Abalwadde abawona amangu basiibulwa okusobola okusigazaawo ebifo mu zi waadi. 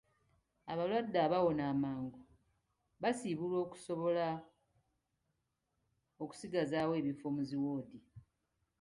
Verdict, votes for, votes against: rejected, 0, 2